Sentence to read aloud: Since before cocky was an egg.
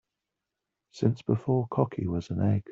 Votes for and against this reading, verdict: 2, 0, accepted